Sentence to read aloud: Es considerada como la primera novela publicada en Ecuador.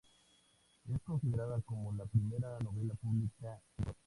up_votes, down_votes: 0, 2